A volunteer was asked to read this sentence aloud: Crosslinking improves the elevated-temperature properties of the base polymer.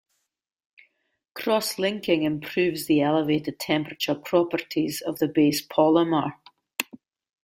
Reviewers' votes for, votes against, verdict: 2, 0, accepted